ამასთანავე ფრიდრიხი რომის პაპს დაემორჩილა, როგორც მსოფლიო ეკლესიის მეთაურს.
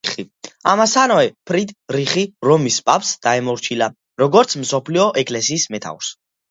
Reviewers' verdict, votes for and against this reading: rejected, 1, 2